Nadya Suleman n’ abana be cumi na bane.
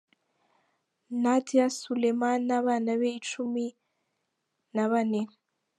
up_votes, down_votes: 1, 2